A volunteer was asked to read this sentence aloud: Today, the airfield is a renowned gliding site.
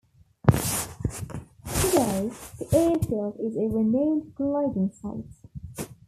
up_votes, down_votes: 0, 2